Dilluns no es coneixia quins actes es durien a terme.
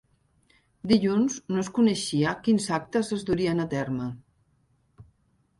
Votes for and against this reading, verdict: 0, 2, rejected